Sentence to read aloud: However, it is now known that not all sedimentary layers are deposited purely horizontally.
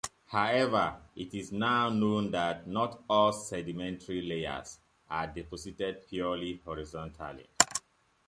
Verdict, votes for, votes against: rejected, 0, 2